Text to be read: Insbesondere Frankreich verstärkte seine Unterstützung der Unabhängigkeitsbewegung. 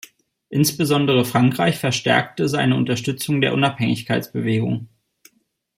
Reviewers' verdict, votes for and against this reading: accepted, 2, 0